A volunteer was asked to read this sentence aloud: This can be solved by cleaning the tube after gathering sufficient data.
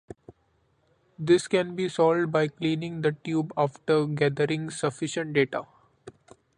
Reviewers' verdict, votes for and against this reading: accepted, 2, 0